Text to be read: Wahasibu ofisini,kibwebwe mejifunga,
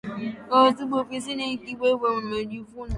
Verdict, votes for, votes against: rejected, 3, 4